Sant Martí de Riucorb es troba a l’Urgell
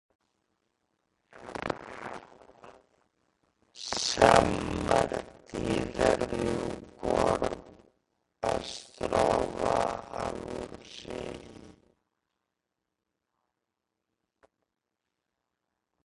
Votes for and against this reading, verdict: 0, 3, rejected